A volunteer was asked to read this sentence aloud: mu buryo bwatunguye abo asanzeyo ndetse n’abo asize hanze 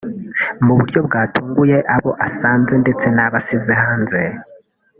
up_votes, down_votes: 0, 2